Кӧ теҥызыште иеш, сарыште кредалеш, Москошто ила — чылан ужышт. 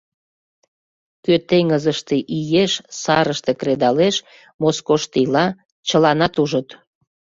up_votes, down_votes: 0, 2